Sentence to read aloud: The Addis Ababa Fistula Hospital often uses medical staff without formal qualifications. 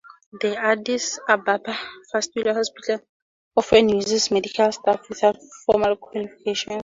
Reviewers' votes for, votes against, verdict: 4, 0, accepted